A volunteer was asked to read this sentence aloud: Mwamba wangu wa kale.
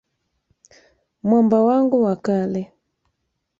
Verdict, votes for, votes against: rejected, 1, 2